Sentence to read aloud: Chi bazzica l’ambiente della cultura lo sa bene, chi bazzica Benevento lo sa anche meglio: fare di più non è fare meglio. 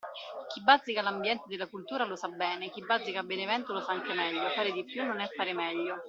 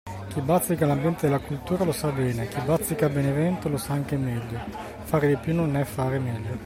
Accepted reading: second